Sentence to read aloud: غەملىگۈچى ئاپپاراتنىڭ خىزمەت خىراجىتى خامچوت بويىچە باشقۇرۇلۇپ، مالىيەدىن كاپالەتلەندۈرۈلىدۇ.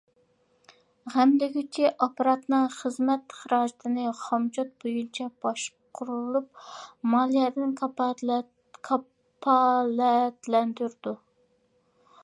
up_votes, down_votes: 0, 2